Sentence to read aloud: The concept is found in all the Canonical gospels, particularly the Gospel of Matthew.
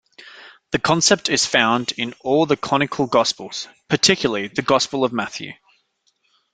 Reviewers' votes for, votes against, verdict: 0, 2, rejected